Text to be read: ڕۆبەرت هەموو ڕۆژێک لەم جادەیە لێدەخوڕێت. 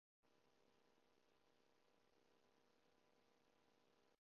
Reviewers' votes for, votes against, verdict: 0, 2, rejected